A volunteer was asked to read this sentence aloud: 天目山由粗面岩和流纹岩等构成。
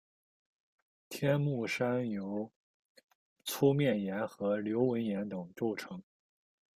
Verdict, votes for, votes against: accepted, 2, 0